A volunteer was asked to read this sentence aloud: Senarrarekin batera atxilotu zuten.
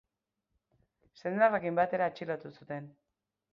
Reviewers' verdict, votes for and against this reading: accepted, 3, 0